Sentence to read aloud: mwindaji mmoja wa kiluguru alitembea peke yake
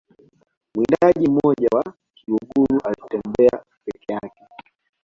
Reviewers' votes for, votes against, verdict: 2, 1, accepted